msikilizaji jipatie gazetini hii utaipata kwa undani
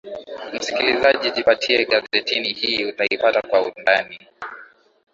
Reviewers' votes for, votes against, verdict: 2, 0, accepted